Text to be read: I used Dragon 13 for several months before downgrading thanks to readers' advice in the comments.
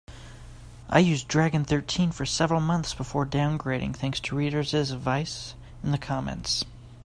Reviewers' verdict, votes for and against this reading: rejected, 0, 2